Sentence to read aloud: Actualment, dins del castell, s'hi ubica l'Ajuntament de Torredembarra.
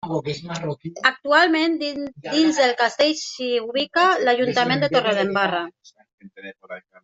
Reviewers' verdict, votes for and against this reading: rejected, 0, 2